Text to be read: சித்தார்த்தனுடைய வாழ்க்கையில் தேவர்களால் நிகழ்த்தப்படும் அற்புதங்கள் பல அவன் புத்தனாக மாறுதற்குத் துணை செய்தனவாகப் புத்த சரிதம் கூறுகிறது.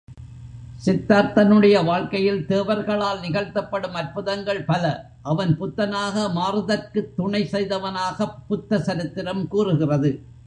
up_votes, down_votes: 1, 2